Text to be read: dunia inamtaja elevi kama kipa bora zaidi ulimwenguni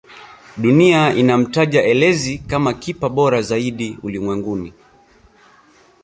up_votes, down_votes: 1, 2